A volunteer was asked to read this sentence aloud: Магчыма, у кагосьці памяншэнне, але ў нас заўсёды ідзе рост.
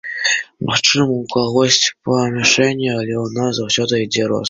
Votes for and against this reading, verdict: 0, 2, rejected